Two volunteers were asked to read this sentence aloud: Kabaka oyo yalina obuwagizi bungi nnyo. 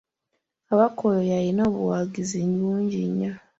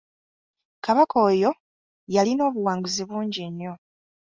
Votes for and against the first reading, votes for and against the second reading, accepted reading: 2, 0, 0, 2, first